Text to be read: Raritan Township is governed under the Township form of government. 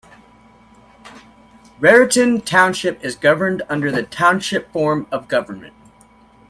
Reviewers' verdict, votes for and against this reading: accepted, 2, 0